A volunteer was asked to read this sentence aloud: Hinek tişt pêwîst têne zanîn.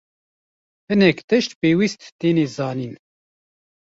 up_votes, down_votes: 1, 2